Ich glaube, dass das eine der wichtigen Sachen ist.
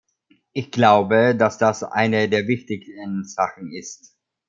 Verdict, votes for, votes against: accepted, 2, 0